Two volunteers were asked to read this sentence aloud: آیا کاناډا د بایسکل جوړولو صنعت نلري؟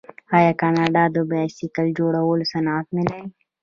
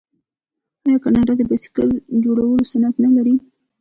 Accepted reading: first